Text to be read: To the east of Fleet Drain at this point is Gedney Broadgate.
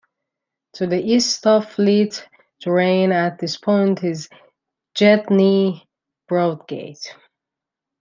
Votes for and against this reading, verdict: 1, 2, rejected